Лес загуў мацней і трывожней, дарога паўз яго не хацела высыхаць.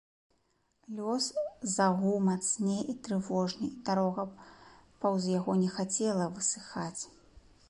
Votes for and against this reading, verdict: 0, 2, rejected